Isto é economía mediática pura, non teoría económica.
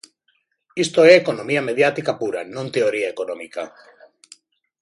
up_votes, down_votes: 2, 0